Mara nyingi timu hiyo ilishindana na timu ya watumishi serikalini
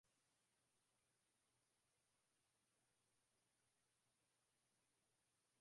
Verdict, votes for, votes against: rejected, 0, 2